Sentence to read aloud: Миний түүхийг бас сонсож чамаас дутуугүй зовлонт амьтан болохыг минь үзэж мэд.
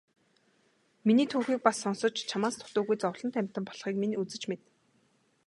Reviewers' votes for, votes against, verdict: 2, 1, accepted